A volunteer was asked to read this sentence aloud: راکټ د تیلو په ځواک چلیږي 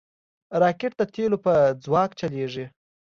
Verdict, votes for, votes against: accepted, 2, 0